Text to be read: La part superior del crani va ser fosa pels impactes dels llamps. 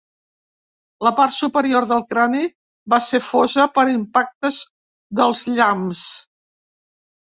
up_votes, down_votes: 1, 2